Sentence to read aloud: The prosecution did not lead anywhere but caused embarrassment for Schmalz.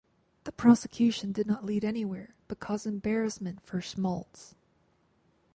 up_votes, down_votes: 2, 0